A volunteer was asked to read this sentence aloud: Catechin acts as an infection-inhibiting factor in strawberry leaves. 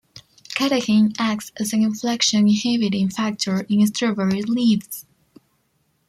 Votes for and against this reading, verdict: 1, 2, rejected